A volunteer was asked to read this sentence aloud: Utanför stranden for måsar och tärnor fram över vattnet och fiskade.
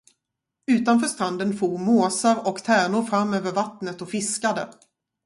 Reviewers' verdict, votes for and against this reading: accepted, 2, 0